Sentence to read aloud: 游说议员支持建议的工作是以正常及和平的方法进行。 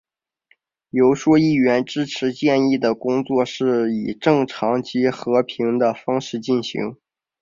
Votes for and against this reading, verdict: 2, 0, accepted